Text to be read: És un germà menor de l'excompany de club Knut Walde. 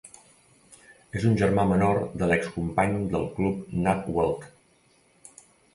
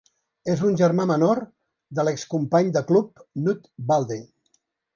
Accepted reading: second